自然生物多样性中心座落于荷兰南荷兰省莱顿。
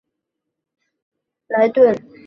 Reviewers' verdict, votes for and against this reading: rejected, 0, 2